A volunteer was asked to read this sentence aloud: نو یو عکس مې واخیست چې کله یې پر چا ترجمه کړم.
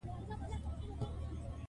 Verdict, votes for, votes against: accepted, 2, 1